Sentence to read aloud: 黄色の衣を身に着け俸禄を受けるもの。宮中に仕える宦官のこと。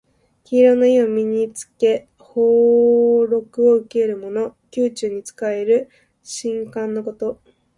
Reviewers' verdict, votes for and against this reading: rejected, 0, 2